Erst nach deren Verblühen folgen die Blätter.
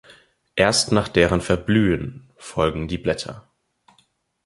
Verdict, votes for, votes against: accepted, 2, 0